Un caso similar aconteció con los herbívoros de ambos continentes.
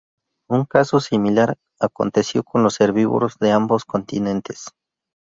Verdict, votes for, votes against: accepted, 2, 0